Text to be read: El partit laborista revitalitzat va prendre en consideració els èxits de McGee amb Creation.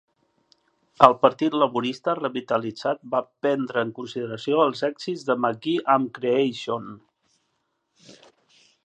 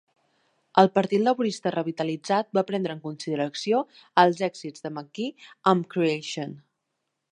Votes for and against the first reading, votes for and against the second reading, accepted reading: 2, 0, 1, 4, first